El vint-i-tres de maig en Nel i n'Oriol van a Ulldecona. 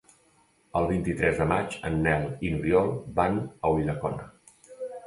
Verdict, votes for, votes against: accepted, 2, 0